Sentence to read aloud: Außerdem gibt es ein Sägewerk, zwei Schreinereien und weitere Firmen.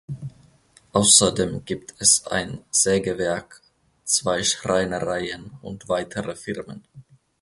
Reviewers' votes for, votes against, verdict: 2, 0, accepted